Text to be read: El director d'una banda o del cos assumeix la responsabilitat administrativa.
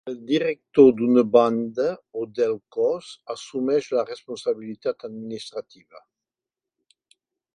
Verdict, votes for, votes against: accepted, 4, 0